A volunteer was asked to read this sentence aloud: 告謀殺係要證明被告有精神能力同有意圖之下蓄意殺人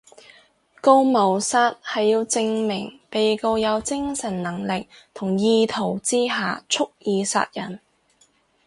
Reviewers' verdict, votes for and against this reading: rejected, 2, 2